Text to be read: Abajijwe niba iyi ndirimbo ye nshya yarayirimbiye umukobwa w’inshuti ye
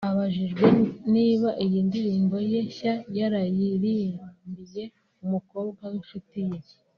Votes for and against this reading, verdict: 1, 2, rejected